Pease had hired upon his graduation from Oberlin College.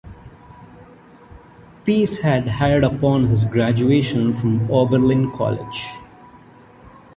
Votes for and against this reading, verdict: 2, 0, accepted